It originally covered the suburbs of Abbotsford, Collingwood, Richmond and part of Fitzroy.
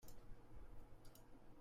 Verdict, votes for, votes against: rejected, 0, 2